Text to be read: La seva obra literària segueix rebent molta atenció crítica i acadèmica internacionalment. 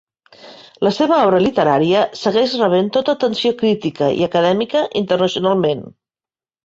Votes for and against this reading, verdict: 0, 2, rejected